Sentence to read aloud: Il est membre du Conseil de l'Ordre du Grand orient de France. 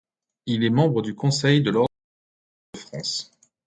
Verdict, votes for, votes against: rejected, 1, 2